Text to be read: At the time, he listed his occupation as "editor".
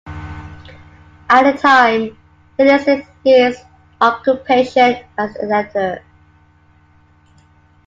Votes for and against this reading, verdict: 2, 0, accepted